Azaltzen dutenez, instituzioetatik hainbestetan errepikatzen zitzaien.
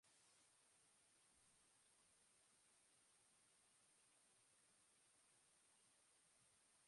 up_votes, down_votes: 0, 2